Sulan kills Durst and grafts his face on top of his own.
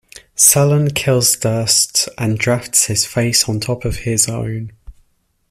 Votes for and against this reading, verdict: 0, 2, rejected